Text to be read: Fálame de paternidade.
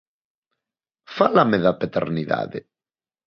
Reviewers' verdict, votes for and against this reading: rejected, 0, 2